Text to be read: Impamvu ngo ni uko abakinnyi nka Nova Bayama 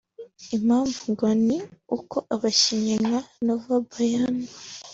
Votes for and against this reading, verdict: 3, 0, accepted